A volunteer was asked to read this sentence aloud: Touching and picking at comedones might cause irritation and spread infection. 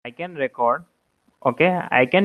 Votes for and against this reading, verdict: 0, 2, rejected